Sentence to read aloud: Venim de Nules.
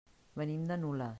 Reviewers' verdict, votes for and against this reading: rejected, 0, 2